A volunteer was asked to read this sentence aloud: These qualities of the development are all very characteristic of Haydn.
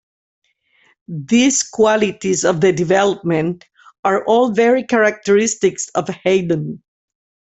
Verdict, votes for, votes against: rejected, 0, 2